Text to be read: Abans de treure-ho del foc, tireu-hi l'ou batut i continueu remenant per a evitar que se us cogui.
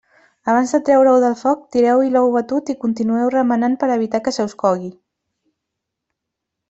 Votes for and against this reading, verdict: 1, 2, rejected